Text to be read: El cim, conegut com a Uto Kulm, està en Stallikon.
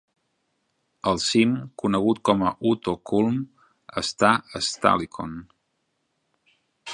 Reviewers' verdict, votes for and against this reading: rejected, 0, 2